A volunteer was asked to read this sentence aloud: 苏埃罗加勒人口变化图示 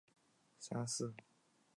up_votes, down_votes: 1, 2